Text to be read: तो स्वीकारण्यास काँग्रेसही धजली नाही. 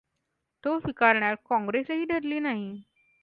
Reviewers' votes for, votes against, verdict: 2, 0, accepted